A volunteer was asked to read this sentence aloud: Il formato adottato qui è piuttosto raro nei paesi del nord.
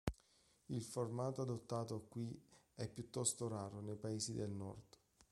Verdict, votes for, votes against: accepted, 2, 1